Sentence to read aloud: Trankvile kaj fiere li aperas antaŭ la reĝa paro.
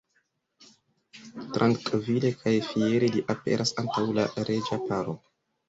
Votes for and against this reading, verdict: 0, 2, rejected